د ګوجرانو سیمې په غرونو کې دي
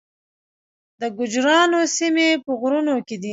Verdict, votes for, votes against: accepted, 2, 0